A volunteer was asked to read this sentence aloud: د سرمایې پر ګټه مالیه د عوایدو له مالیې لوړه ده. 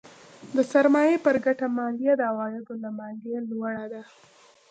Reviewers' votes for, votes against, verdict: 2, 0, accepted